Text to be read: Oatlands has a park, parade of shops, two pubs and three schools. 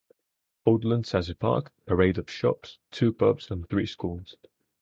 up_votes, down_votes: 4, 0